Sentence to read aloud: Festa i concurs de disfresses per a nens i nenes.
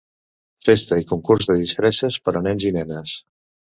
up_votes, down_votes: 2, 0